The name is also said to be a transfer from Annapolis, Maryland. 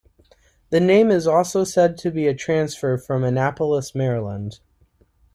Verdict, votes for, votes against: accepted, 2, 0